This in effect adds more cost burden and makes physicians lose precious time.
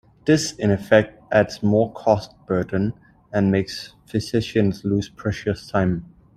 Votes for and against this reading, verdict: 2, 0, accepted